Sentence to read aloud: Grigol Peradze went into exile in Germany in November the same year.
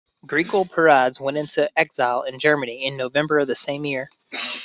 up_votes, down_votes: 2, 1